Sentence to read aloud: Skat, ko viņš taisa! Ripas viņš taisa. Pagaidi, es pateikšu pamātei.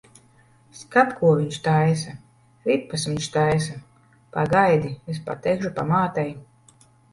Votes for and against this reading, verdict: 2, 0, accepted